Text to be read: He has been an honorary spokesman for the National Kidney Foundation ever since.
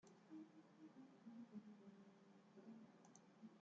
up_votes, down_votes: 0, 2